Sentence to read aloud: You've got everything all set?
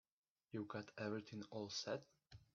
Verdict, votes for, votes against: rejected, 0, 2